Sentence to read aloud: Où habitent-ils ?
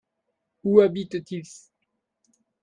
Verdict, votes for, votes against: rejected, 1, 2